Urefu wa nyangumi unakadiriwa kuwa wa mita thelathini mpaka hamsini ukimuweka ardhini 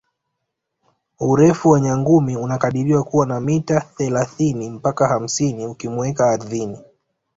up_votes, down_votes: 2, 0